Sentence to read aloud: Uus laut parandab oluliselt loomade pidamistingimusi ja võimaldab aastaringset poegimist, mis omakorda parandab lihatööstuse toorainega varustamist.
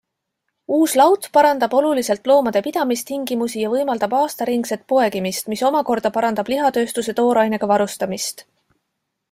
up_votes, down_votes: 2, 0